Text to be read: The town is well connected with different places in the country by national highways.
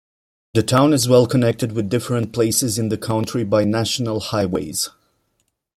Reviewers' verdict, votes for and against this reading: rejected, 1, 2